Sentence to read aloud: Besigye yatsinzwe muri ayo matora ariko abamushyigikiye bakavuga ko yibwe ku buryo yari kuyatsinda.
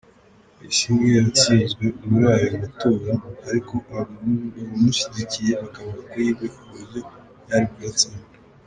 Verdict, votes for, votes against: rejected, 0, 2